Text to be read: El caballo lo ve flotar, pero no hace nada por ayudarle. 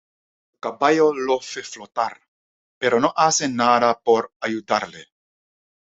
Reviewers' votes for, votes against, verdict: 1, 2, rejected